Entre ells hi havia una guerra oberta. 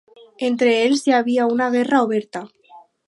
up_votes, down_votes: 4, 0